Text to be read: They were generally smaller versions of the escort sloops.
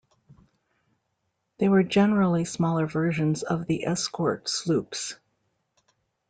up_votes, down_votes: 2, 0